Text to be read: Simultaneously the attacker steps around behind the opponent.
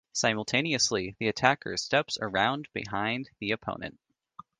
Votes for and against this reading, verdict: 2, 0, accepted